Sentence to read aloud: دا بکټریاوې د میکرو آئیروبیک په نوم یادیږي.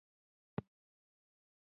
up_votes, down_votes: 1, 2